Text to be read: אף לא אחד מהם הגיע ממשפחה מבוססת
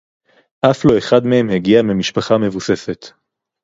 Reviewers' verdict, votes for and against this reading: rejected, 2, 2